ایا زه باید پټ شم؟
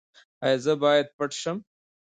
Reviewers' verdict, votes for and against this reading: rejected, 1, 2